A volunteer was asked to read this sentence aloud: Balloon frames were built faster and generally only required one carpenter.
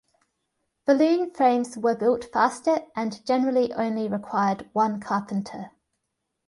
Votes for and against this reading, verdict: 2, 0, accepted